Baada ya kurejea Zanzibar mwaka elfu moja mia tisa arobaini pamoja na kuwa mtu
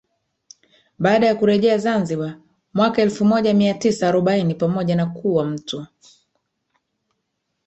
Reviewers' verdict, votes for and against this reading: accepted, 3, 2